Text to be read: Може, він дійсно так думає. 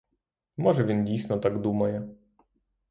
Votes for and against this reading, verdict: 0, 3, rejected